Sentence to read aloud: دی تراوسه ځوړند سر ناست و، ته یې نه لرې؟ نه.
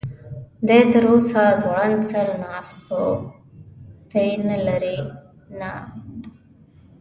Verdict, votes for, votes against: accepted, 2, 0